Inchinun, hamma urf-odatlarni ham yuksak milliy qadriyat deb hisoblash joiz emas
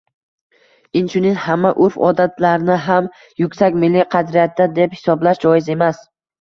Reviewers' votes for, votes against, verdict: 1, 2, rejected